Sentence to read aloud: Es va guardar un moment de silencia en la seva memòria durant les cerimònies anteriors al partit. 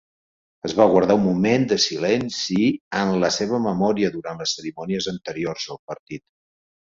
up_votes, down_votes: 0, 3